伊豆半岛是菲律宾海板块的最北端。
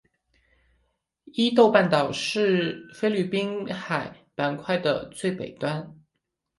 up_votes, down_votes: 4, 0